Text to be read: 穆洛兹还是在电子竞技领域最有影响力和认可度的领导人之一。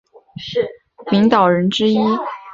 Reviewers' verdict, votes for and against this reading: rejected, 1, 2